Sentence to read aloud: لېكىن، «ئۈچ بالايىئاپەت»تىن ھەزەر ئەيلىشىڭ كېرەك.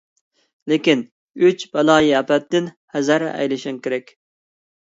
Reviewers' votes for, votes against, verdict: 2, 0, accepted